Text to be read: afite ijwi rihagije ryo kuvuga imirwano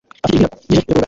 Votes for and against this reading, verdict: 0, 2, rejected